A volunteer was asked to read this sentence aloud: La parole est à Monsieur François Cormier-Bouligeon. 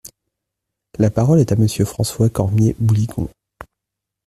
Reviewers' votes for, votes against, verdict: 0, 2, rejected